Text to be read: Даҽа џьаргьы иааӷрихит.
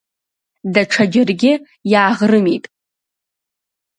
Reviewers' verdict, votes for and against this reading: rejected, 0, 2